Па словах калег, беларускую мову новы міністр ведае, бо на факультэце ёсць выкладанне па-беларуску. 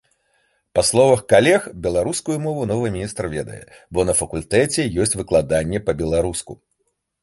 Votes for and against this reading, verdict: 2, 0, accepted